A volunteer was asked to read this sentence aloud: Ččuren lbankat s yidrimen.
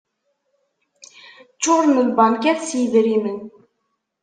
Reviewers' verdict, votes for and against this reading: accepted, 2, 0